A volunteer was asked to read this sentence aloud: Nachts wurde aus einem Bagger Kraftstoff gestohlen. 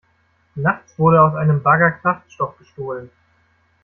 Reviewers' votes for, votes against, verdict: 1, 2, rejected